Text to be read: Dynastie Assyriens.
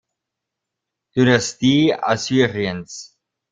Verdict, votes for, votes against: rejected, 0, 2